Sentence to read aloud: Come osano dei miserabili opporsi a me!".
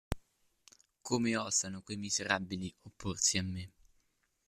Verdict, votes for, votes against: rejected, 0, 2